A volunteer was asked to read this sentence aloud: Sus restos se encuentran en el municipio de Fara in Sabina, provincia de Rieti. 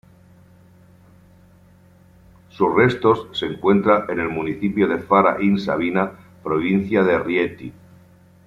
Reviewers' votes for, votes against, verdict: 2, 0, accepted